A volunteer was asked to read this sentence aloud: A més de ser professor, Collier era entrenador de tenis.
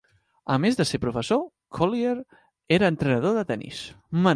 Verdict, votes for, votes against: rejected, 0, 2